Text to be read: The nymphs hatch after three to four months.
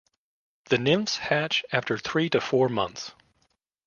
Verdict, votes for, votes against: accepted, 2, 0